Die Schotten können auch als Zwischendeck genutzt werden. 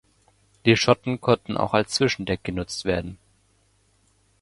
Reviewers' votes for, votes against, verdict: 0, 2, rejected